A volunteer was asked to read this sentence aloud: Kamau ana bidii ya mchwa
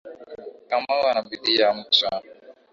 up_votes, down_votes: 2, 0